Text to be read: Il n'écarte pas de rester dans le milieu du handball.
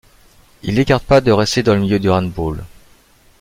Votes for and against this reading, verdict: 0, 2, rejected